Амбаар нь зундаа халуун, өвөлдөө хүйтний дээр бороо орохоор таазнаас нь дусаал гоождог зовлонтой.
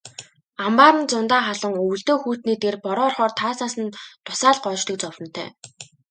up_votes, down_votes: 4, 1